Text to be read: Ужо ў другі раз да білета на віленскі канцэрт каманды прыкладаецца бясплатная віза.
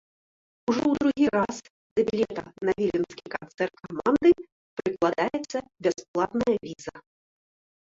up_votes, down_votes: 1, 2